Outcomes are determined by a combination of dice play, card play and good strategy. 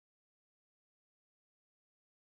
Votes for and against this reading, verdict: 0, 2, rejected